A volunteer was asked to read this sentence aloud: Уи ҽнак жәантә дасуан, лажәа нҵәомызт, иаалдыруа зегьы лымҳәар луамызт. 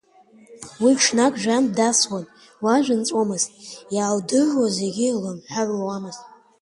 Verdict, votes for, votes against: rejected, 1, 2